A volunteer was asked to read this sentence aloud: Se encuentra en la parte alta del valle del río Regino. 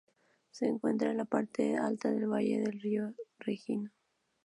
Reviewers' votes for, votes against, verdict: 2, 0, accepted